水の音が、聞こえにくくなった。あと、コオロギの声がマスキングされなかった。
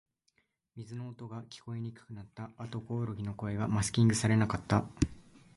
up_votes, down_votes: 0, 2